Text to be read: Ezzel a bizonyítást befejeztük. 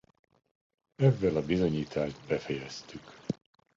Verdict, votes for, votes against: accepted, 2, 0